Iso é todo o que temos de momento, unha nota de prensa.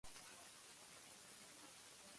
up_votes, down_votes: 0, 2